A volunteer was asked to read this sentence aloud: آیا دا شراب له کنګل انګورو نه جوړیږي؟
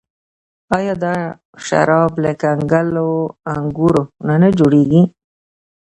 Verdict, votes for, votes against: rejected, 1, 2